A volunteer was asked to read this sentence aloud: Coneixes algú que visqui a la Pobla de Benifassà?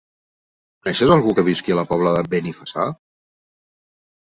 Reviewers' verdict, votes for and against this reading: rejected, 0, 2